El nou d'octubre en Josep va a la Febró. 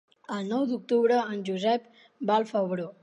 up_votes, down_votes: 1, 2